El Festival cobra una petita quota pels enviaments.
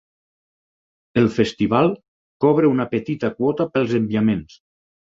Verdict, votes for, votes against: accepted, 6, 0